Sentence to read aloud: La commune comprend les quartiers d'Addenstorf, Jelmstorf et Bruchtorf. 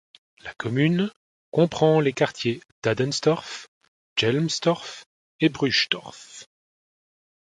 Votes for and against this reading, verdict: 2, 0, accepted